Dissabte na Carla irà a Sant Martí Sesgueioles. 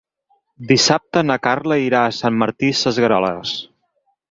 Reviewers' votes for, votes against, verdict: 0, 4, rejected